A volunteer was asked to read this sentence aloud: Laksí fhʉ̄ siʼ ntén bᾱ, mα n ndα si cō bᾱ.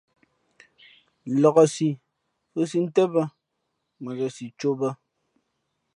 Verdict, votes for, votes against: accepted, 2, 0